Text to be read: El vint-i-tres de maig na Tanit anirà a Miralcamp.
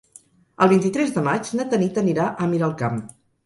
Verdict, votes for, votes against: accepted, 4, 0